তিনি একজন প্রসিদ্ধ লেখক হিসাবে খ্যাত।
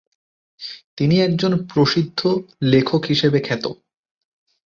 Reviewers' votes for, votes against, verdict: 2, 0, accepted